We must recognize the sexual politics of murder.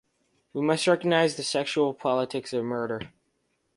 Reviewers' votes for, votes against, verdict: 2, 0, accepted